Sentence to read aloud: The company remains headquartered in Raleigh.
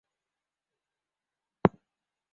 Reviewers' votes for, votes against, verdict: 0, 3, rejected